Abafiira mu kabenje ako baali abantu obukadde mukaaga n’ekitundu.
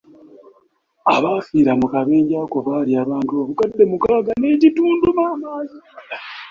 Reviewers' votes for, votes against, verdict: 0, 3, rejected